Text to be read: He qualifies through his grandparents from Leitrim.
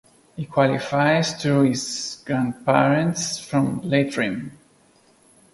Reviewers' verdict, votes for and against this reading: accepted, 2, 1